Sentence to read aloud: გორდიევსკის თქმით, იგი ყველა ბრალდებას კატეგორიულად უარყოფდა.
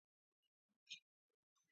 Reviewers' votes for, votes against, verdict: 0, 2, rejected